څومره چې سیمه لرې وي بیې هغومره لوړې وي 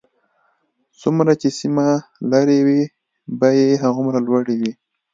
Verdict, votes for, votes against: accepted, 2, 0